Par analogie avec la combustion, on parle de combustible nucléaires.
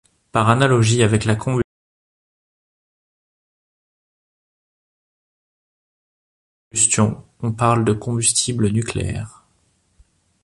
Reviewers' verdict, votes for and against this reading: rejected, 0, 2